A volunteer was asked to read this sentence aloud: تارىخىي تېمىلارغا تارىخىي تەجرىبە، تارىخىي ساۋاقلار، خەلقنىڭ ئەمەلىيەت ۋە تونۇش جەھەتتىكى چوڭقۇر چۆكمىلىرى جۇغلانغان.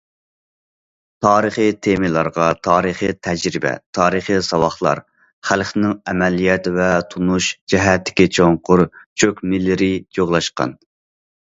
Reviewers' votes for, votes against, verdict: 0, 2, rejected